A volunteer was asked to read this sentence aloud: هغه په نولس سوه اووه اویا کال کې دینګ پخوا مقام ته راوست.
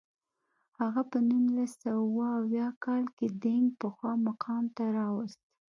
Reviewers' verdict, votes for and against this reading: accepted, 2, 0